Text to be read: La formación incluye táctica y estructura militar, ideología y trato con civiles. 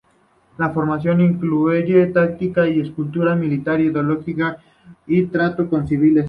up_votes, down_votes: 0, 2